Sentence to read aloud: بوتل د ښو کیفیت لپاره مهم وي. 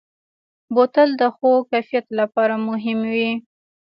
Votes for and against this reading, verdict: 1, 2, rejected